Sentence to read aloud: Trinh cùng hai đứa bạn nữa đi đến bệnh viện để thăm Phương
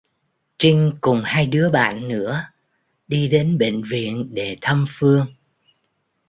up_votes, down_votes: 1, 2